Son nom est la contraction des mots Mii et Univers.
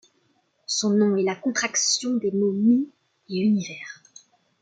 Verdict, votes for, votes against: accepted, 2, 0